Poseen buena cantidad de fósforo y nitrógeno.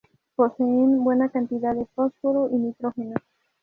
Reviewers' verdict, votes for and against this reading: accepted, 2, 0